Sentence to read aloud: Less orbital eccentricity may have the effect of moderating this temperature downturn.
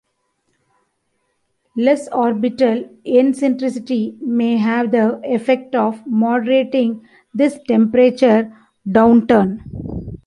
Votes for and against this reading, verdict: 2, 1, accepted